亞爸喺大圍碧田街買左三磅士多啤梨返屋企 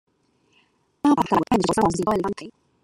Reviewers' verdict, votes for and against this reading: rejected, 0, 2